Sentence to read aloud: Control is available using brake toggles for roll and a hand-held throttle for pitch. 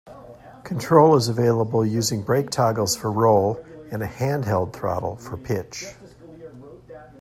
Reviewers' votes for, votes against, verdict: 2, 0, accepted